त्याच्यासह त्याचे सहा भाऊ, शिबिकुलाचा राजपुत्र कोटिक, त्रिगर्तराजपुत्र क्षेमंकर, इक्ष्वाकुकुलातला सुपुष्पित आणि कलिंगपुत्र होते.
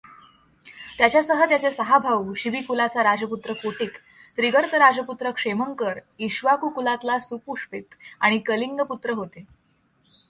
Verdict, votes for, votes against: accepted, 2, 0